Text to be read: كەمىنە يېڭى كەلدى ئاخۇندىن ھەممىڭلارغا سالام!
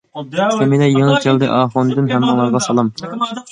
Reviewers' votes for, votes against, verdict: 0, 2, rejected